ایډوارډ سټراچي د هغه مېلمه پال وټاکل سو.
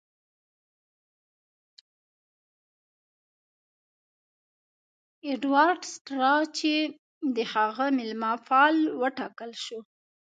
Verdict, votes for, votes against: rejected, 0, 2